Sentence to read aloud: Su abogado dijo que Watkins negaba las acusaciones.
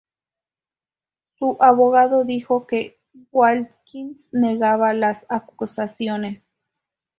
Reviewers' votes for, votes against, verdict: 2, 2, rejected